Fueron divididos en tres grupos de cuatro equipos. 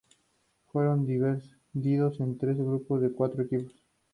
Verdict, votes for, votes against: rejected, 0, 4